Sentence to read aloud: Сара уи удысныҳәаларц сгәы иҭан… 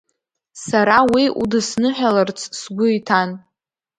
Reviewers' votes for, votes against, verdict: 2, 1, accepted